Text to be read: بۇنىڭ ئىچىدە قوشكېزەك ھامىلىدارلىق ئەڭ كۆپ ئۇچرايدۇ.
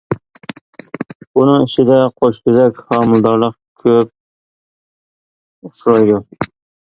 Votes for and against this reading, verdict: 0, 2, rejected